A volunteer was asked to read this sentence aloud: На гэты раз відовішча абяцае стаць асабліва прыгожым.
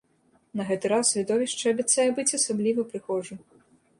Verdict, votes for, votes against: rejected, 0, 2